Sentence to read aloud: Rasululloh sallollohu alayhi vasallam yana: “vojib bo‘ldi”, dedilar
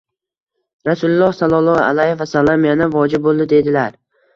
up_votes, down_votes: 2, 0